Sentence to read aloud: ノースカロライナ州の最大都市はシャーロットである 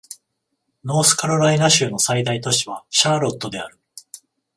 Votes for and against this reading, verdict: 14, 0, accepted